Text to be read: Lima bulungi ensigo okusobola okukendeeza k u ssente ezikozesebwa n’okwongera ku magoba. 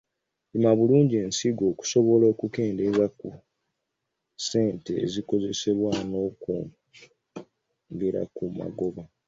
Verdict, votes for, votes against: rejected, 1, 2